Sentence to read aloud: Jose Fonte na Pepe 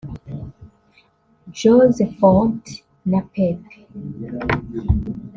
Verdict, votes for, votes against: rejected, 1, 2